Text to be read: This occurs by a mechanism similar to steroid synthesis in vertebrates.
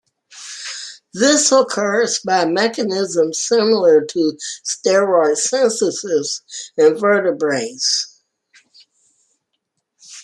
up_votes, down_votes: 0, 2